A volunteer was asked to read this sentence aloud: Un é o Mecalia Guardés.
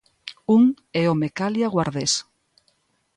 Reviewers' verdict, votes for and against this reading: accepted, 2, 0